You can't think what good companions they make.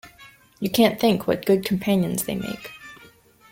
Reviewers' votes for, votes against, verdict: 2, 0, accepted